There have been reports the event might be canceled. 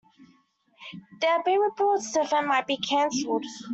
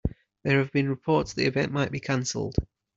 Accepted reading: second